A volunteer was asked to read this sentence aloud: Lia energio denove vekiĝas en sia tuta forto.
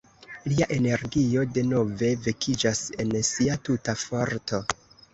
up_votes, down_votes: 1, 2